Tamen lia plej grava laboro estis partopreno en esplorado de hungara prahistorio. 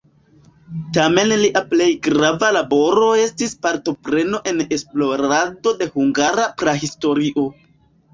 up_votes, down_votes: 0, 2